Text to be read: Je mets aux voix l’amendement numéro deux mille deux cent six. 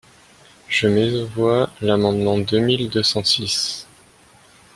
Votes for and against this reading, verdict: 0, 2, rejected